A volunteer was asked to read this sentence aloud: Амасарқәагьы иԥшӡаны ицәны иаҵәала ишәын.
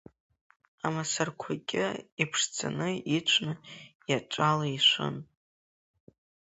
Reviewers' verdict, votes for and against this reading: accepted, 3, 0